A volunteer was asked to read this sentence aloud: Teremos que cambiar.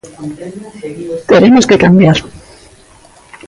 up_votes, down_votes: 2, 0